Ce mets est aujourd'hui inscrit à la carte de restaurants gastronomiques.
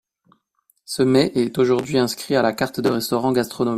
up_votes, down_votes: 0, 2